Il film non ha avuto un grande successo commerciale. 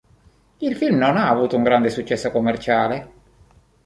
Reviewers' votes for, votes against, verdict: 2, 0, accepted